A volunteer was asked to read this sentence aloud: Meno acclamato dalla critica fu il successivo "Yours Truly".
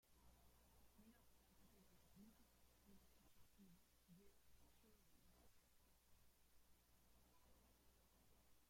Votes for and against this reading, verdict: 0, 2, rejected